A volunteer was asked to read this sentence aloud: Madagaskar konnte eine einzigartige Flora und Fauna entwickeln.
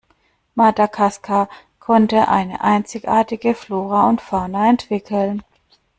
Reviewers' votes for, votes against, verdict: 2, 1, accepted